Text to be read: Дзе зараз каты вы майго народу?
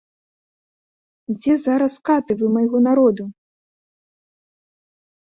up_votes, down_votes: 2, 0